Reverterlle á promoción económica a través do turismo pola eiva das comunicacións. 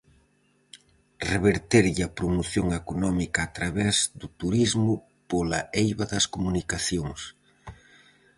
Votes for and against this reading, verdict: 4, 0, accepted